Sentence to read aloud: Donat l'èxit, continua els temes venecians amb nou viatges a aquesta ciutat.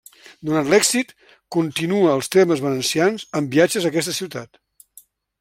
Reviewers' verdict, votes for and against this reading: rejected, 1, 2